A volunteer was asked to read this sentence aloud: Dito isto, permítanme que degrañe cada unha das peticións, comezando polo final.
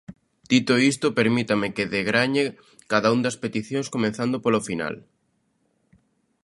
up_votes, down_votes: 0, 2